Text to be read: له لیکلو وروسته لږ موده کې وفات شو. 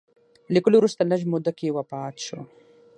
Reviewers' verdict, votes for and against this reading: accepted, 6, 0